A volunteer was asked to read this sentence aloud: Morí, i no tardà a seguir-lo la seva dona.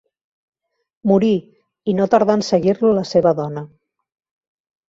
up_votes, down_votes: 1, 2